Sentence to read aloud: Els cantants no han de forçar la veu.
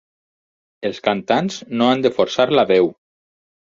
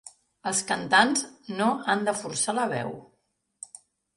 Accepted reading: second